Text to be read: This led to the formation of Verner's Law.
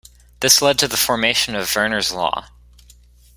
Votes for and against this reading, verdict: 2, 0, accepted